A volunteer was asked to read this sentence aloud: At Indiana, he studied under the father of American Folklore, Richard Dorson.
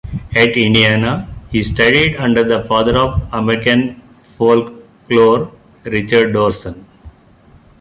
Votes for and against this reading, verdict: 2, 1, accepted